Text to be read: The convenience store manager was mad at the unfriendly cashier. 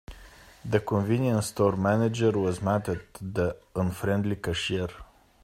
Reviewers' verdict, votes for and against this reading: accepted, 2, 0